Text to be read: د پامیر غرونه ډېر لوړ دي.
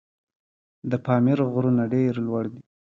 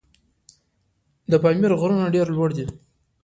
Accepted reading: first